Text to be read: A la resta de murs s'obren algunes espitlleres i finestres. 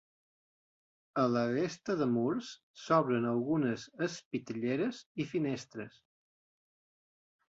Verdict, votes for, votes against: accepted, 2, 0